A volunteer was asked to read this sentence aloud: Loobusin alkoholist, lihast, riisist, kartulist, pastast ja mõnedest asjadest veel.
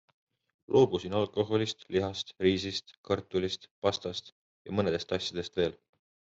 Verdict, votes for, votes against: accepted, 2, 0